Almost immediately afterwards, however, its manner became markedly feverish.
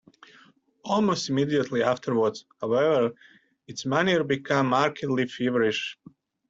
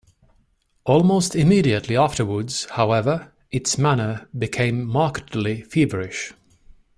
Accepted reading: second